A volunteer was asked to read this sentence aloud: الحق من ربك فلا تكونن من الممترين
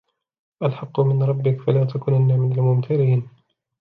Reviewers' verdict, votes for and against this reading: accepted, 2, 0